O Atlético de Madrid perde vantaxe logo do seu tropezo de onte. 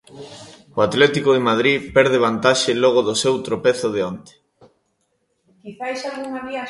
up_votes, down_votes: 0, 2